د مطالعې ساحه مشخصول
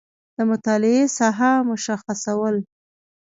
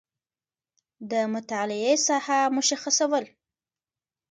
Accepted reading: first